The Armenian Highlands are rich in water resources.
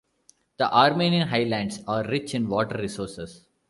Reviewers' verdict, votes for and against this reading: rejected, 0, 2